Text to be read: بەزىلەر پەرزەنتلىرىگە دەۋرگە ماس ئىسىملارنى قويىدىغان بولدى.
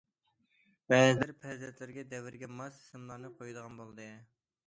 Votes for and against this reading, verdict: 2, 0, accepted